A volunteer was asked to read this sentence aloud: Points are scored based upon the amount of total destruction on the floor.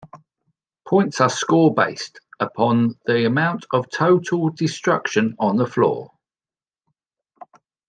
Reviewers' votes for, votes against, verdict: 1, 3, rejected